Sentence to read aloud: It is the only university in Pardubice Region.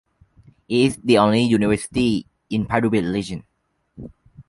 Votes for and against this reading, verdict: 2, 1, accepted